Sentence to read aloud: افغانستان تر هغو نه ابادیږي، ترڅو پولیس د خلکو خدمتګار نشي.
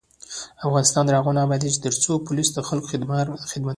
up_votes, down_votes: 0, 2